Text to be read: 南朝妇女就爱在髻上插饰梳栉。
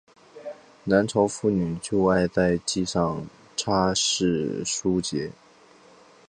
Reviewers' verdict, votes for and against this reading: accepted, 2, 0